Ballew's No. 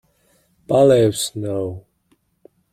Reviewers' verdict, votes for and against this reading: rejected, 0, 2